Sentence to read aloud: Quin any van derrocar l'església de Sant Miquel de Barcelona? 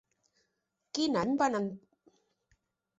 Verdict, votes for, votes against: rejected, 1, 2